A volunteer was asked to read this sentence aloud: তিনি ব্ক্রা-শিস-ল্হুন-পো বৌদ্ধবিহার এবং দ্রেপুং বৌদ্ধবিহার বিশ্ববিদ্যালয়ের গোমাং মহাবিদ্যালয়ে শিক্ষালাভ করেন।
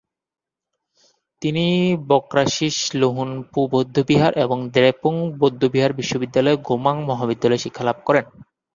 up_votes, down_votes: 2, 0